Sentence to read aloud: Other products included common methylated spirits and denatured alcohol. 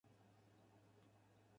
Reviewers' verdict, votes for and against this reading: rejected, 0, 4